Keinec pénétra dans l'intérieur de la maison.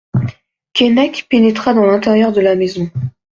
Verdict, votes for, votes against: accepted, 2, 0